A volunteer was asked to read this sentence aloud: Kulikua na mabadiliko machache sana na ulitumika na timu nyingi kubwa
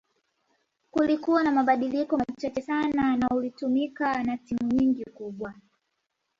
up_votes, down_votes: 0, 2